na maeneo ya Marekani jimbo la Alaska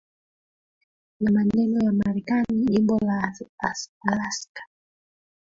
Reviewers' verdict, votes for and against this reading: rejected, 0, 2